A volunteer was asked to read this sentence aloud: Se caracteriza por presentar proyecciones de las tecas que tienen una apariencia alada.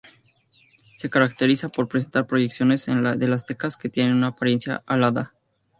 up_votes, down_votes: 0, 2